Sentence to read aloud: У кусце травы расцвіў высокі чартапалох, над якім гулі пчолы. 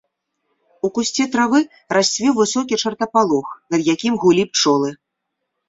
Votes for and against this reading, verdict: 2, 0, accepted